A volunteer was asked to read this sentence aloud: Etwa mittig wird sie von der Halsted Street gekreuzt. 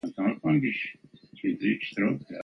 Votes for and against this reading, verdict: 0, 2, rejected